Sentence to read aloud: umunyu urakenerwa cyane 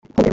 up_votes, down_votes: 0, 3